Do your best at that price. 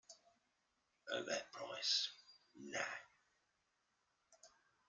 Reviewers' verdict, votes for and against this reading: rejected, 0, 3